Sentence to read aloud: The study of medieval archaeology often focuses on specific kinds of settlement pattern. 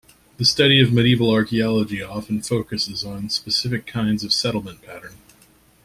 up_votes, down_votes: 2, 0